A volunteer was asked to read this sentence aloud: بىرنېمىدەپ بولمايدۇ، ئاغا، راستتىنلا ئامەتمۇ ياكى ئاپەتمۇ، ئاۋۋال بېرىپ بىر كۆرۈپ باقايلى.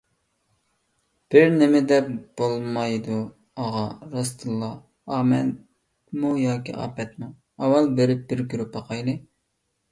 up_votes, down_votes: 1, 2